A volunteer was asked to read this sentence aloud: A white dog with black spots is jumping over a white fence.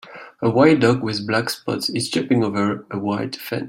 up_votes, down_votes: 0, 2